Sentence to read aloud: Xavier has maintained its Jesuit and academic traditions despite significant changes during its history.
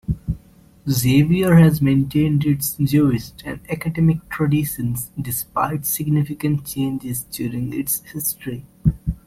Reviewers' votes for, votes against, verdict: 0, 2, rejected